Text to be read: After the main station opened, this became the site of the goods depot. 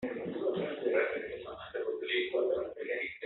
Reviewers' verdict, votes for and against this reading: rejected, 0, 2